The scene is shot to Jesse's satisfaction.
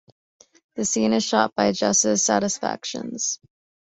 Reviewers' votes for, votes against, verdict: 1, 2, rejected